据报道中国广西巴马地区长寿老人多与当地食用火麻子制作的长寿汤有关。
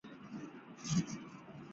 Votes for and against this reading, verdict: 1, 8, rejected